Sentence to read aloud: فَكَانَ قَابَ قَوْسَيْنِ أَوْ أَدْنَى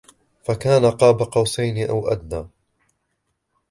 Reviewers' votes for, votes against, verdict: 2, 0, accepted